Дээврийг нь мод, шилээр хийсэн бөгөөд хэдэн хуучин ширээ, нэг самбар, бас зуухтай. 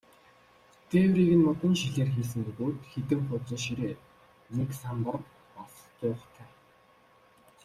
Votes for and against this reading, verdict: 1, 2, rejected